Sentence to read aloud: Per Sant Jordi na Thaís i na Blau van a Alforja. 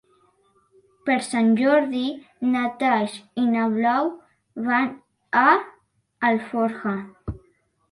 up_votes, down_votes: 5, 2